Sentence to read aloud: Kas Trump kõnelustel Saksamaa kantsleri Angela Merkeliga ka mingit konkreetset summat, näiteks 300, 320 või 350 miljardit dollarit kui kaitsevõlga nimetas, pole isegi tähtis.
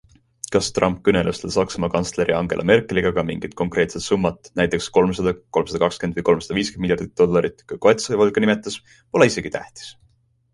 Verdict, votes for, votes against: rejected, 0, 2